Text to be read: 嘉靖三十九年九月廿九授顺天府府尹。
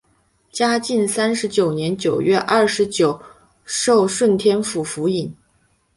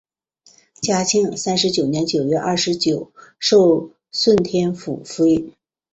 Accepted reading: second